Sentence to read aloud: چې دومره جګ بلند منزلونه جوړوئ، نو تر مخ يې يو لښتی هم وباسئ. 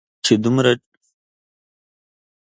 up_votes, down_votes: 0, 2